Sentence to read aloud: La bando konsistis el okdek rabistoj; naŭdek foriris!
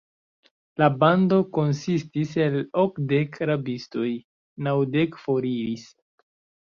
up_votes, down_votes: 0, 2